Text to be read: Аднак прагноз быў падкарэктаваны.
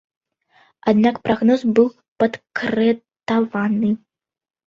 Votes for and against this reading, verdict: 1, 2, rejected